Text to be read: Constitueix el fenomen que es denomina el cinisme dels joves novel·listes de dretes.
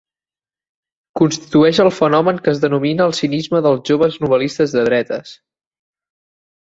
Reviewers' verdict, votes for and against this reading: accepted, 2, 0